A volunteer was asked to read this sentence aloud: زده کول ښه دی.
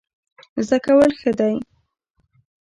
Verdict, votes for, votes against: accepted, 2, 0